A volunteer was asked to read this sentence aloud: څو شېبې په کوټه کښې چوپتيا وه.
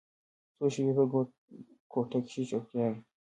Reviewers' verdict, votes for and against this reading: accepted, 2, 0